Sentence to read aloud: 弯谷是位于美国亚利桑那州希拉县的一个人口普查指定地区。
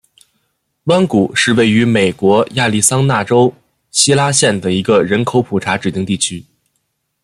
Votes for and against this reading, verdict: 2, 0, accepted